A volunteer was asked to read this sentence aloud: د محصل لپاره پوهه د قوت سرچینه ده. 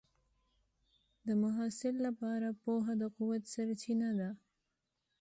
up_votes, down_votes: 2, 0